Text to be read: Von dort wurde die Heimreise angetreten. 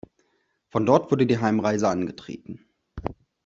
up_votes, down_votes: 2, 0